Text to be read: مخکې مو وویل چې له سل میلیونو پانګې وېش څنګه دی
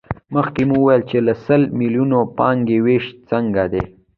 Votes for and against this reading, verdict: 0, 2, rejected